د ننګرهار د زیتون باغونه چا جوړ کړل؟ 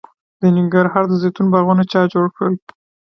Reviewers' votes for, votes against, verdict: 2, 0, accepted